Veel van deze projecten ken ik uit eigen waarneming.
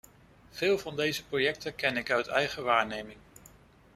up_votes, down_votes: 2, 0